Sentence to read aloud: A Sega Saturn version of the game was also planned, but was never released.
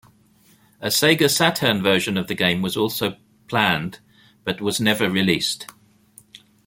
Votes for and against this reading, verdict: 2, 0, accepted